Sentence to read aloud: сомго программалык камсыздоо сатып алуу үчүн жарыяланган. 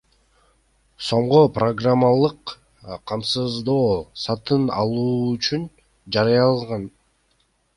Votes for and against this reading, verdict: 1, 2, rejected